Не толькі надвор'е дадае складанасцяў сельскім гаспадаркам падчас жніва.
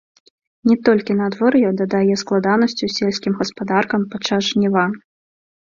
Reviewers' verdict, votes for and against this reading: accepted, 2, 0